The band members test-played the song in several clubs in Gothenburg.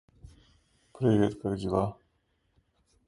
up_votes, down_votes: 0, 2